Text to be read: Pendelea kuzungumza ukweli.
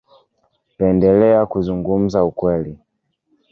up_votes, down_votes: 1, 2